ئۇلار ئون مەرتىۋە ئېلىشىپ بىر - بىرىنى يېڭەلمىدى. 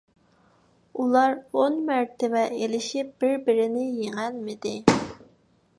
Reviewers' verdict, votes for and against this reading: accepted, 2, 0